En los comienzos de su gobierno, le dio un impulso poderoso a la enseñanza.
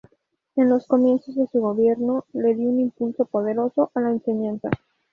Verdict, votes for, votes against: accepted, 2, 0